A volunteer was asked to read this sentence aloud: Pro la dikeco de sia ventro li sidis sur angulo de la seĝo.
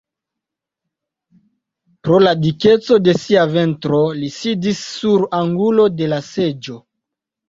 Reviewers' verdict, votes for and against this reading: accepted, 3, 0